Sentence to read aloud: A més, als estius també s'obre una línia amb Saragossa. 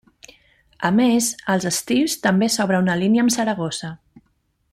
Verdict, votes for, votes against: accepted, 2, 0